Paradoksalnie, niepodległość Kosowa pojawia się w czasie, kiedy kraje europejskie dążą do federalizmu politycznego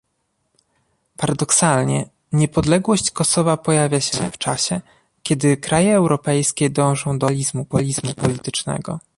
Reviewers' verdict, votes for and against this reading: rejected, 0, 2